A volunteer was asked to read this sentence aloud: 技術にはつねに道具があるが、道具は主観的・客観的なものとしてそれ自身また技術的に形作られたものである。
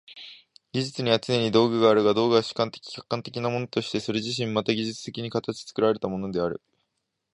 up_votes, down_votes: 4, 0